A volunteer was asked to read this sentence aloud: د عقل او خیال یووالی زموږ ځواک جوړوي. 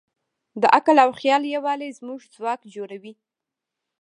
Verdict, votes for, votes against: rejected, 1, 3